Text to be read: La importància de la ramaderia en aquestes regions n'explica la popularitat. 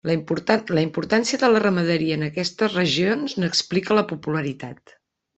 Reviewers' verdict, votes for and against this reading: rejected, 0, 2